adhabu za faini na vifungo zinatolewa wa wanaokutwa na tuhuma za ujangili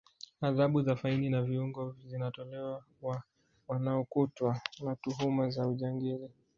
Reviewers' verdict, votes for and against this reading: accepted, 4, 0